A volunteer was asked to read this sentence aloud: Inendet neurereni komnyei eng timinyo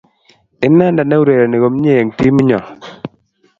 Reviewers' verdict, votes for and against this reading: accepted, 3, 0